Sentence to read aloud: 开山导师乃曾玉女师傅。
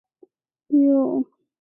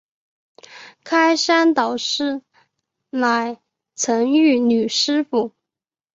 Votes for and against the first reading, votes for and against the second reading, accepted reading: 0, 4, 3, 0, second